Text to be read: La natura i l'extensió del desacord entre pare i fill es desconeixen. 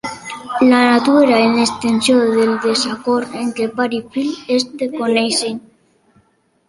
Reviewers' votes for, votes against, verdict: 1, 2, rejected